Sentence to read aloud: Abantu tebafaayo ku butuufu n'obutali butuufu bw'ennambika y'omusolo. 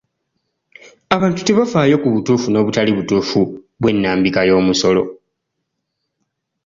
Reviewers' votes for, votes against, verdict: 3, 0, accepted